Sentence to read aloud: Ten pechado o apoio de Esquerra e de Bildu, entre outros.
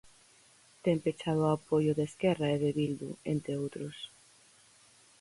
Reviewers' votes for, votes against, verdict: 4, 0, accepted